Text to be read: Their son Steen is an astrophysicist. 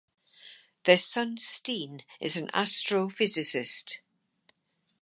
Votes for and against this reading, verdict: 4, 0, accepted